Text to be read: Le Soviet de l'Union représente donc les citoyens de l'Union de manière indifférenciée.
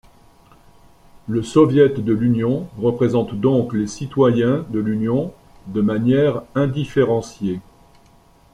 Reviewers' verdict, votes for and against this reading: accepted, 2, 0